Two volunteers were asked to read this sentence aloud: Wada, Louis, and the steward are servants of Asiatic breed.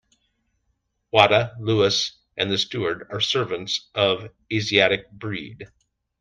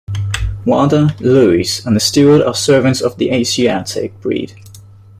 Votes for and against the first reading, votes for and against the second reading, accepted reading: 2, 0, 0, 2, first